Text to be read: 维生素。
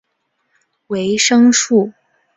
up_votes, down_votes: 2, 0